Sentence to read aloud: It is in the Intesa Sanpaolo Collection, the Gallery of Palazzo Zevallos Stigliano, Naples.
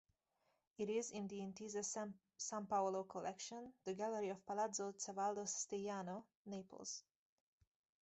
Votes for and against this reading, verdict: 0, 2, rejected